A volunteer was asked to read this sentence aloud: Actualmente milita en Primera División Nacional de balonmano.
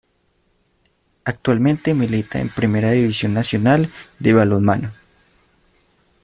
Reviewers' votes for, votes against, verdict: 2, 0, accepted